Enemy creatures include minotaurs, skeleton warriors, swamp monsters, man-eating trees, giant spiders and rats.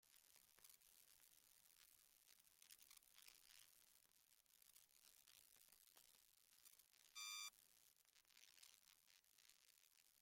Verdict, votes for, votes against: rejected, 0, 2